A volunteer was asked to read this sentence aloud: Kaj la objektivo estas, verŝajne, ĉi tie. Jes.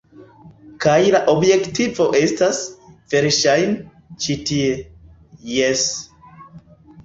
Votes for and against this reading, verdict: 1, 2, rejected